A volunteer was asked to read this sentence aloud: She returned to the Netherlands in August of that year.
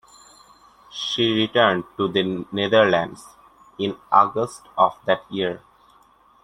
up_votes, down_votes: 2, 0